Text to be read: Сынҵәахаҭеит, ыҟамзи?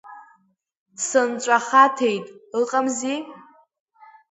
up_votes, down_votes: 2, 0